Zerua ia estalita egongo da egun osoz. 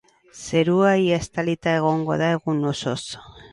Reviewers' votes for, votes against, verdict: 2, 2, rejected